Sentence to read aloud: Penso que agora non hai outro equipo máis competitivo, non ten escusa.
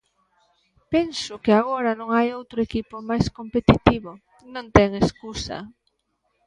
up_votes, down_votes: 1, 2